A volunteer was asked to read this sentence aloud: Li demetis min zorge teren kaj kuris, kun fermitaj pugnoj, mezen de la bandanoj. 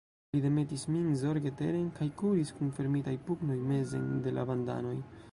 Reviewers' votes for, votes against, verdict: 1, 2, rejected